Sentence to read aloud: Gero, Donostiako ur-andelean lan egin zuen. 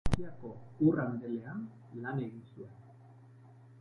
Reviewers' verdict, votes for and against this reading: rejected, 0, 2